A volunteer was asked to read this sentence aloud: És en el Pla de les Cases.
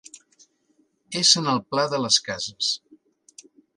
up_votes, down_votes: 2, 0